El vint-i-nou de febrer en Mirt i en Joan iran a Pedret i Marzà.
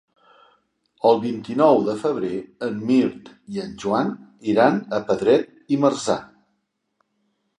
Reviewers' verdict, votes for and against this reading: accepted, 4, 0